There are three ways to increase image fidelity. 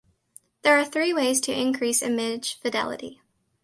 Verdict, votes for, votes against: accepted, 2, 0